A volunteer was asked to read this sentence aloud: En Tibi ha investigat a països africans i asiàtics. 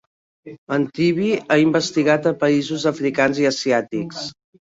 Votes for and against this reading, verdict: 3, 0, accepted